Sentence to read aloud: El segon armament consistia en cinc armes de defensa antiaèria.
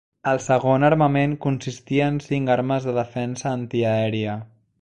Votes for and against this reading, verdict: 2, 0, accepted